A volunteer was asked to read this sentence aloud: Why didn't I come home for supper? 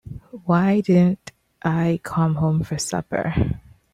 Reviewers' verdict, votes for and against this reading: accepted, 2, 1